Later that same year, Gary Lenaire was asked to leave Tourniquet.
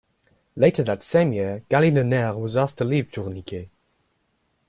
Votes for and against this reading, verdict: 1, 2, rejected